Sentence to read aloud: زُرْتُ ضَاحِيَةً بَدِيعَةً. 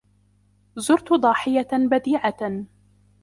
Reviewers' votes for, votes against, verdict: 2, 0, accepted